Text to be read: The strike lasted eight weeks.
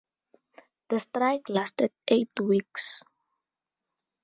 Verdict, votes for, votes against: accepted, 2, 0